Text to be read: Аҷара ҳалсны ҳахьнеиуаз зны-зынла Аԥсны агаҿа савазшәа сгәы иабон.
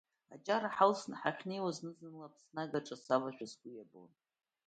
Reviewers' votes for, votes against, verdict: 2, 0, accepted